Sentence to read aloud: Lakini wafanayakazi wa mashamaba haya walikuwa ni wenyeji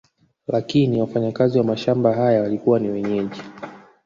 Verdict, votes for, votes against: rejected, 0, 2